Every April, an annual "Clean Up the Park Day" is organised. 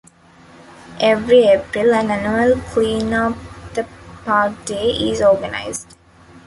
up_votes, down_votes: 2, 0